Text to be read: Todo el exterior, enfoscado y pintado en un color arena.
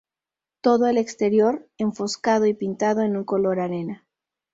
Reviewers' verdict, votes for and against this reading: rejected, 2, 2